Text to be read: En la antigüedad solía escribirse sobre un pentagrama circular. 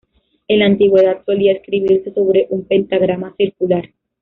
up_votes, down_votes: 1, 2